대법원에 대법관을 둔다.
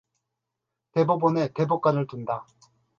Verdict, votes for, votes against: accepted, 2, 0